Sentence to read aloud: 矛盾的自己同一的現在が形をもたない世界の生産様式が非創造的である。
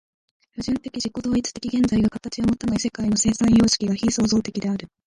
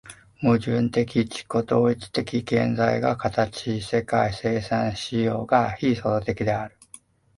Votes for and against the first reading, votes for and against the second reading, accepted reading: 1, 2, 2, 1, second